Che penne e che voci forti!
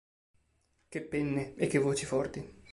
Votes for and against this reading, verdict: 4, 0, accepted